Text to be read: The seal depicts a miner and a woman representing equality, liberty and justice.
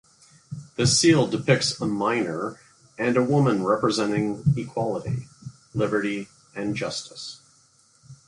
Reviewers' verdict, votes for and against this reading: accepted, 2, 0